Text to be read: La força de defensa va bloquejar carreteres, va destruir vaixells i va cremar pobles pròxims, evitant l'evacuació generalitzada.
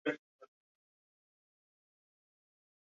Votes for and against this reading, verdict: 0, 2, rejected